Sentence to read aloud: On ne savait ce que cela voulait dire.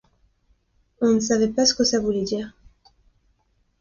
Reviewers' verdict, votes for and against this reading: rejected, 0, 2